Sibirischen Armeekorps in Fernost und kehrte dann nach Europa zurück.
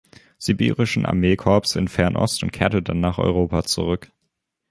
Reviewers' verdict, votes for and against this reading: accepted, 2, 0